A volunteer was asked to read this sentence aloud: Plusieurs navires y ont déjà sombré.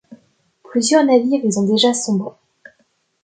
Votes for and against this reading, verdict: 0, 2, rejected